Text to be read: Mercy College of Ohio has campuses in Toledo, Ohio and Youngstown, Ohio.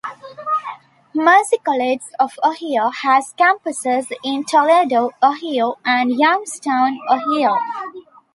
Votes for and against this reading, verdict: 1, 2, rejected